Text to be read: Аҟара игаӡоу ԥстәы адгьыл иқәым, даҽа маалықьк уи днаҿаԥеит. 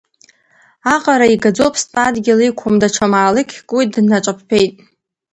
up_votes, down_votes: 0, 2